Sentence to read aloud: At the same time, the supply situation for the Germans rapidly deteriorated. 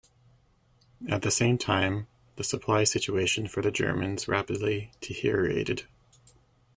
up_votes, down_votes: 0, 2